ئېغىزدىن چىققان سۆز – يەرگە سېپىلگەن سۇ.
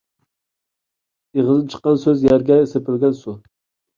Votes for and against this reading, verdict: 2, 0, accepted